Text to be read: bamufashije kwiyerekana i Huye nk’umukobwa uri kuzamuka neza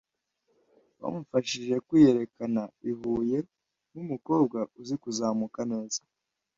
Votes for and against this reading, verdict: 0, 2, rejected